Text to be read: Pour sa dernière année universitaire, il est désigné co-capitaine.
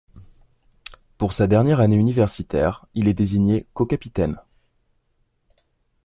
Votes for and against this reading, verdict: 2, 0, accepted